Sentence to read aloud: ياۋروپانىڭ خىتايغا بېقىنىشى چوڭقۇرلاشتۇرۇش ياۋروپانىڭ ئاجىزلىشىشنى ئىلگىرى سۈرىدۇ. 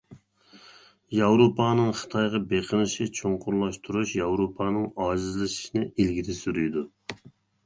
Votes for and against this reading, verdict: 0, 2, rejected